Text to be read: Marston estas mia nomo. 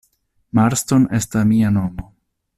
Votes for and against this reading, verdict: 0, 2, rejected